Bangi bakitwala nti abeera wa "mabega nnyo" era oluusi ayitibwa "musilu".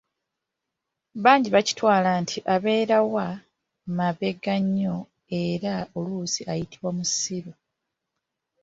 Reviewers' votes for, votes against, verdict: 2, 1, accepted